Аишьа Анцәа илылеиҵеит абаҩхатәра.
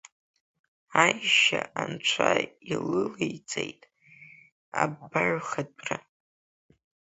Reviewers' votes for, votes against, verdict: 0, 2, rejected